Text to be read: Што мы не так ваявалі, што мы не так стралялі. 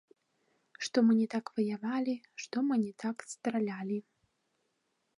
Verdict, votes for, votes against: rejected, 0, 2